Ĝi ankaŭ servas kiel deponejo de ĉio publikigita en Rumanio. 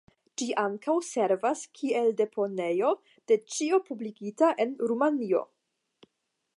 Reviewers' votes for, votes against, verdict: 0, 5, rejected